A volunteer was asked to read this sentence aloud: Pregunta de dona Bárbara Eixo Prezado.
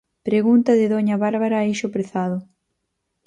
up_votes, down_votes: 2, 4